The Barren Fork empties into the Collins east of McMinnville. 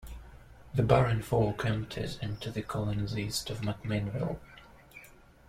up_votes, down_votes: 1, 2